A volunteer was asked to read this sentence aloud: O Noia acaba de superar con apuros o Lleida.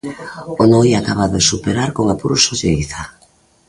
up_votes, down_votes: 2, 0